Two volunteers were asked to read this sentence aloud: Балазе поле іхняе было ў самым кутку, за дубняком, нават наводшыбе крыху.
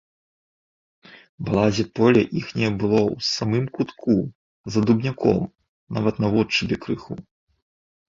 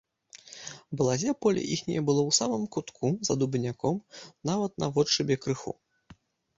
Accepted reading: first